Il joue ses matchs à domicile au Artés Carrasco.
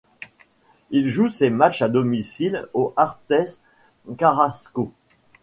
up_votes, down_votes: 1, 2